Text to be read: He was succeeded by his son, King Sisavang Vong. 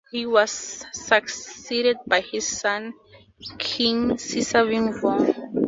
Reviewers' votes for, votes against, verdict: 0, 4, rejected